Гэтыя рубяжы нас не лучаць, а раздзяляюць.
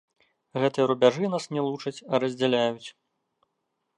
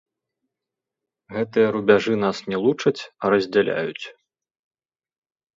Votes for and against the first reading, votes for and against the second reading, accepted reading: 2, 0, 0, 2, first